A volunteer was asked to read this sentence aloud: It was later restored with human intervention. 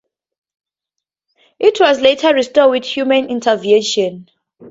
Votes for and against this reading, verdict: 2, 0, accepted